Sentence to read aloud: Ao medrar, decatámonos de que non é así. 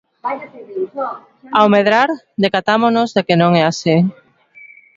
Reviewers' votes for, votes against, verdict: 1, 2, rejected